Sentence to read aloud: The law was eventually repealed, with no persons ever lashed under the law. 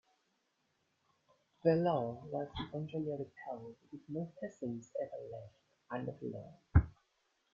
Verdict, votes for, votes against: rejected, 0, 2